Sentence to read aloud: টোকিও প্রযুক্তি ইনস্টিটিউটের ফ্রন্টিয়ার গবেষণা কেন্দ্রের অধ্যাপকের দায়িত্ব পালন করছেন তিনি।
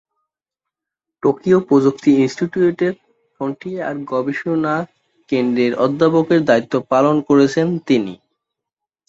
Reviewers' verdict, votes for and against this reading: rejected, 0, 2